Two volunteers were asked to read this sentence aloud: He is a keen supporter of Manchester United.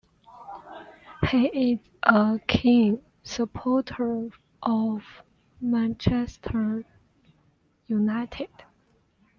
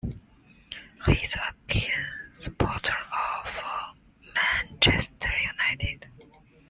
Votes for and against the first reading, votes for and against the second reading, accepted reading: 2, 0, 1, 2, first